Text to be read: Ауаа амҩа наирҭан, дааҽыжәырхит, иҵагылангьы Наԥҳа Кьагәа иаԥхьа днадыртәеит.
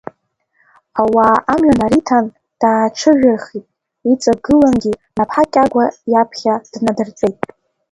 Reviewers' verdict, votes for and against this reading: rejected, 0, 2